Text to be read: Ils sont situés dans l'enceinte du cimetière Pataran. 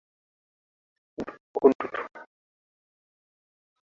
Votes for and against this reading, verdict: 0, 2, rejected